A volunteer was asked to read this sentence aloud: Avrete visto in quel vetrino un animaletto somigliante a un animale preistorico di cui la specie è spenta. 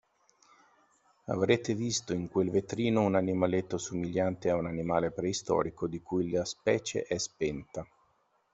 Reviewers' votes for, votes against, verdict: 2, 0, accepted